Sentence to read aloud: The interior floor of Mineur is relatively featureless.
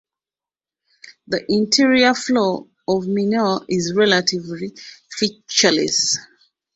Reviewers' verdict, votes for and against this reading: accepted, 2, 0